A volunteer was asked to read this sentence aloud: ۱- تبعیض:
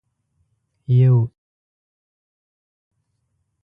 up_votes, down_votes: 0, 2